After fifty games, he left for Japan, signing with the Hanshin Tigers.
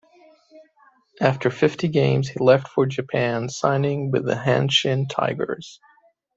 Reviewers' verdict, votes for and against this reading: accepted, 2, 1